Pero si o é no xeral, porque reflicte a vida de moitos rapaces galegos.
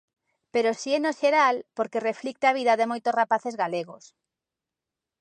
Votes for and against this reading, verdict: 0, 2, rejected